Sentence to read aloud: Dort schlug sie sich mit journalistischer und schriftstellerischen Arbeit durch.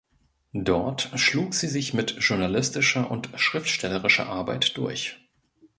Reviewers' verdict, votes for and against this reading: rejected, 1, 2